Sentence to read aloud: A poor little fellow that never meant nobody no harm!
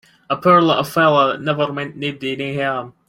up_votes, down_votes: 0, 2